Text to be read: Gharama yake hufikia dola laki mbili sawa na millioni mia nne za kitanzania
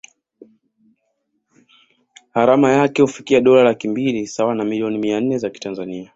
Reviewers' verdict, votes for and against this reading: accepted, 2, 0